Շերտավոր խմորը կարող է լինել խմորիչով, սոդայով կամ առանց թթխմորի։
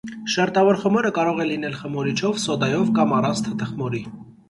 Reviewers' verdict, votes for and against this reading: rejected, 1, 2